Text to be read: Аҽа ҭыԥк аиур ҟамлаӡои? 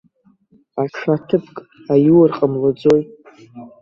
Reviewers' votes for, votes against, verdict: 0, 2, rejected